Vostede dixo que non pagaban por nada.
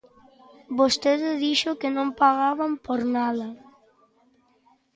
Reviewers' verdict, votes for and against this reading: accepted, 2, 0